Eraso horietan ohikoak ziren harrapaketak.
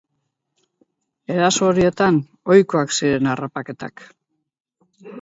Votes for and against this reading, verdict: 2, 2, rejected